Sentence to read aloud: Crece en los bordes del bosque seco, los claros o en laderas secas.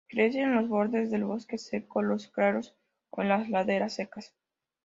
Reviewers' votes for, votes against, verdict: 2, 0, accepted